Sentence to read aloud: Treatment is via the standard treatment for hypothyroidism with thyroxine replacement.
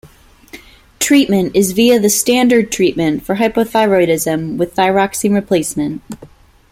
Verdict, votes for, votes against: accepted, 2, 0